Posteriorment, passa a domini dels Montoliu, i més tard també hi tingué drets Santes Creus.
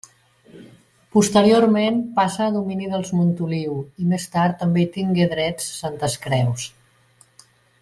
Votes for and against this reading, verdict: 3, 0, accepted